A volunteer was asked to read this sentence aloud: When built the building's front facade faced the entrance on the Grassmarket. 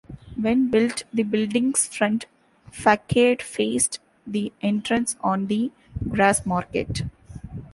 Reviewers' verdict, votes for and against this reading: rejected, 0, 2